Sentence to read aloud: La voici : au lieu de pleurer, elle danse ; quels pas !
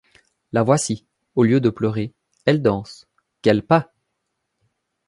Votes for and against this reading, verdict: 2, 0, accepted